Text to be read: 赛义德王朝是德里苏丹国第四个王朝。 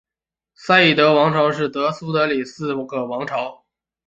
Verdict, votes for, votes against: rejected, 0, 3